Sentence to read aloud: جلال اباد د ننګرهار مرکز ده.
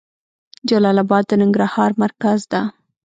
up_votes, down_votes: 2, 0